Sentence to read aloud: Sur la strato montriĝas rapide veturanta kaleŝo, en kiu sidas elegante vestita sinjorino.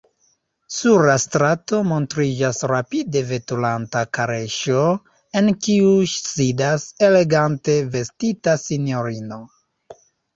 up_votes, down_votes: 0, 2